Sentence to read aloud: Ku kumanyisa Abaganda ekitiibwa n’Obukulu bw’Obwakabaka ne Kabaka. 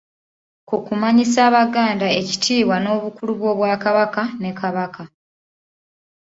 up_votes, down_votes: 2, 0